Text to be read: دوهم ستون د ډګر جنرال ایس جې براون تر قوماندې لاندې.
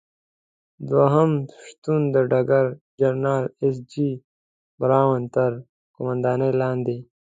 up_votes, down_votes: 2, 0